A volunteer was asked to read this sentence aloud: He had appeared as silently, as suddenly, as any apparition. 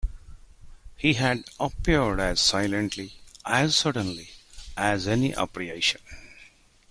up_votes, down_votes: 0, 2